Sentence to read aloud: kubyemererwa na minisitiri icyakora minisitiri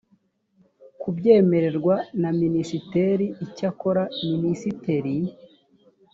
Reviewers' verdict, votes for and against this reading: rejected, 1, 2